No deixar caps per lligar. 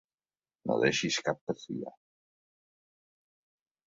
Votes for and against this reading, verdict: 1, 2, rejected